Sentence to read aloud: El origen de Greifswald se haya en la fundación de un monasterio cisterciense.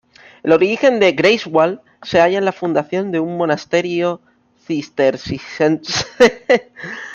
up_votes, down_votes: 0, 2